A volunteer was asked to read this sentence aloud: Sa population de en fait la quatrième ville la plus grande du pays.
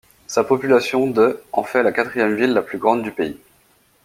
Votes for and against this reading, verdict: 2, 0, accepted